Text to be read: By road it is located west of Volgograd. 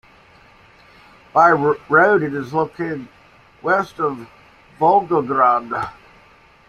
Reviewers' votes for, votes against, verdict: 2, 1, accepted